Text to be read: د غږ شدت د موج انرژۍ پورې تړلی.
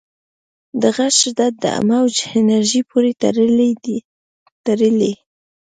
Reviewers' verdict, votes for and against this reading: accepted, 2, 1